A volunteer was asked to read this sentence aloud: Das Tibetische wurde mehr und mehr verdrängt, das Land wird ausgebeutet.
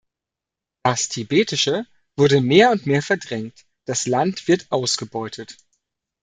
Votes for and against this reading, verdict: 2, 0, accepted